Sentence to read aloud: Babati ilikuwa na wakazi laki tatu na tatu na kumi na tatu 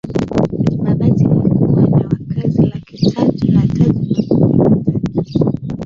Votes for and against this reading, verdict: 0, 2, rejected